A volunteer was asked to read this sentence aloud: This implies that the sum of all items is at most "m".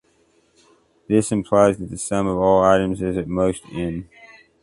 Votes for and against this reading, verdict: 2, 0, accepted